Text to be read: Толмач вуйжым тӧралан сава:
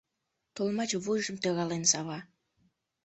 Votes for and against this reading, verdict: 0, 2, rejected